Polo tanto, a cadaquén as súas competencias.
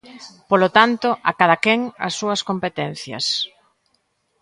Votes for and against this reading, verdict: 2, 0, accepted